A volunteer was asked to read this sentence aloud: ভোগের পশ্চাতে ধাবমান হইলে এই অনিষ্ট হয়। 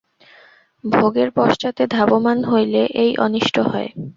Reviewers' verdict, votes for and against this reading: accepted, 2, 0